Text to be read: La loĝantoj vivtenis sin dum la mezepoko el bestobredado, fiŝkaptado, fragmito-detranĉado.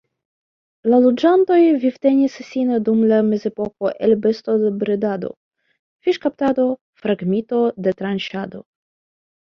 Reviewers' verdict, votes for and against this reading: rejected, 1, 2